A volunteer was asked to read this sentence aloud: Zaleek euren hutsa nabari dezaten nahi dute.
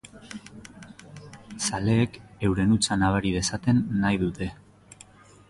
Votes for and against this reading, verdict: 2, 0, accepted